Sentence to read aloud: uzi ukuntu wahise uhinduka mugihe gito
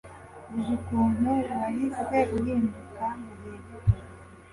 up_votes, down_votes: 2, 0